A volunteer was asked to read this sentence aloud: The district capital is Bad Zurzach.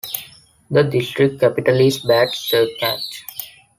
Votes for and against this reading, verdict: 2, 1, accepted